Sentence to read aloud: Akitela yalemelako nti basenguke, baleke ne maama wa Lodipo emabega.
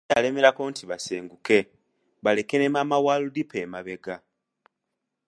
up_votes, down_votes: 0, 2